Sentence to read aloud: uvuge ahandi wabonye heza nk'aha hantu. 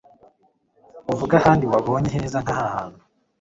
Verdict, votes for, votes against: accepted, 2, 0